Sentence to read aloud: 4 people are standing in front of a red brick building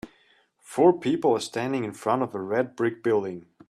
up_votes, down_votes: 0, 2